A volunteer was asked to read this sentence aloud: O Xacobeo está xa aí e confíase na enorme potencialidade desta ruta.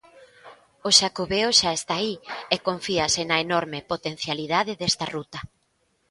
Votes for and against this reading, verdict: 0, 2, rejected